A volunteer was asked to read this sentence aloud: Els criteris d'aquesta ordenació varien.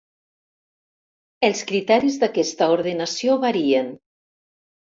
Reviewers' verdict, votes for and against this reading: accepted, 4, 0